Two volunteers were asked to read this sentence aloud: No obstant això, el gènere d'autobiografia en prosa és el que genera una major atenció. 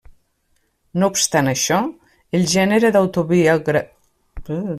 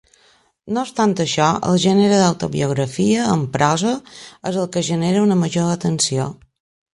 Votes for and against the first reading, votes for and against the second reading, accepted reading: 0, 2, 4, 0, second